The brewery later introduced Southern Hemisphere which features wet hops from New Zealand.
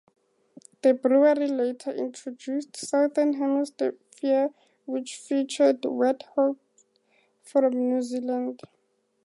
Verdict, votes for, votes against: accepted, 6, 2